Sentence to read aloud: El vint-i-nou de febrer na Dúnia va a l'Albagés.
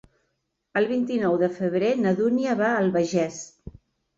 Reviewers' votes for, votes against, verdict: 1, 2, rejected